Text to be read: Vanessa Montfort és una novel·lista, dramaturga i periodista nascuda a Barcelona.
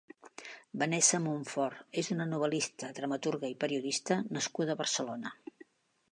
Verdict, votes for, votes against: accepted, 2, 0